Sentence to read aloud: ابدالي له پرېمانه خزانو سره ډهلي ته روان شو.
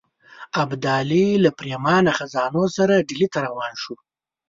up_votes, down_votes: 2, 0